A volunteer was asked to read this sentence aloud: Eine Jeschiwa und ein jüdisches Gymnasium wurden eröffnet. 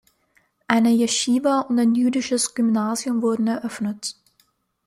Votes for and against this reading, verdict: 2, 0, accepted